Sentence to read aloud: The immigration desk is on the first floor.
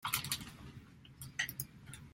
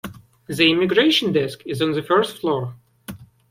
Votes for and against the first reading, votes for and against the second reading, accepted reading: 0, 2, 2, 0, second